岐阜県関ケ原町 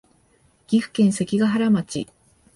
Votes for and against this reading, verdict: 4, 0, accepted